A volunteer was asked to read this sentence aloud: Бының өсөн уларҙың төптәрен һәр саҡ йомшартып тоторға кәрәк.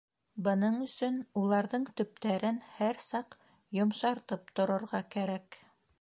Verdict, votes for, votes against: rejected, 0, 2